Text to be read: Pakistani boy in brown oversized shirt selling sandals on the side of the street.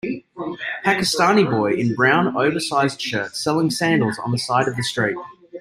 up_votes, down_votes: 1, 2